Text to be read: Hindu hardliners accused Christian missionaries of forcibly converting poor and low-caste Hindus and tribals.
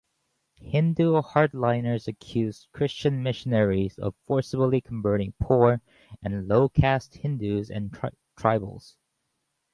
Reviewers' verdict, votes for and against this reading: rejected, 0, 4